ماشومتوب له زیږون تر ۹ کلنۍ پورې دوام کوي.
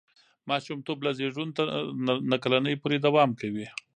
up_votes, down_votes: 0, 2